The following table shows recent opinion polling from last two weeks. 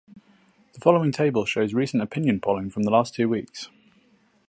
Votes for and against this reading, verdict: 2, 2, rejected